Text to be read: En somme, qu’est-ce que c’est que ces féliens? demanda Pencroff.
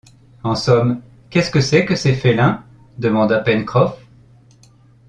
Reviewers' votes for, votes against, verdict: 1, 2, rejected